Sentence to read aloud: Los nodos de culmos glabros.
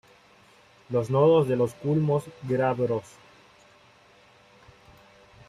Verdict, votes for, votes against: rejected, 1, 2